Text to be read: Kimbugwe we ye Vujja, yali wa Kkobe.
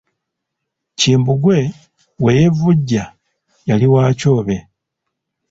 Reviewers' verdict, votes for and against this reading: rejected, 0, 2